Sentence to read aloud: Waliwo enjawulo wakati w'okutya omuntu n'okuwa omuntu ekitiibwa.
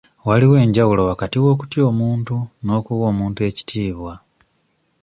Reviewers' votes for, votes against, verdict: 2, 0, accepted